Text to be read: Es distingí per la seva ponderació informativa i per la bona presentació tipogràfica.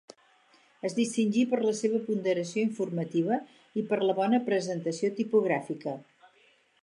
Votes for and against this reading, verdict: 4, 0, accepted